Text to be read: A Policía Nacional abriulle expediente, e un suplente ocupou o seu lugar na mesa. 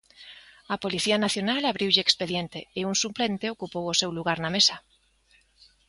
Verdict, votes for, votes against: accepted, 2, 0